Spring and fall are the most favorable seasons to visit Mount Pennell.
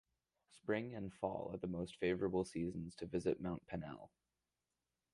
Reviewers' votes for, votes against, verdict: 2, 2, rejected